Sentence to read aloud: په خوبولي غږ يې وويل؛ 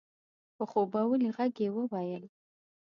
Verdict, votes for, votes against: accepted, 2, 0